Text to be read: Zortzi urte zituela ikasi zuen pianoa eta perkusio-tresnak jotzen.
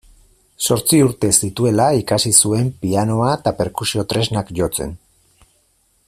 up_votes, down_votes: 4, 0